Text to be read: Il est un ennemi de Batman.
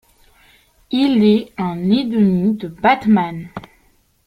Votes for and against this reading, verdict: 1, 2, rejected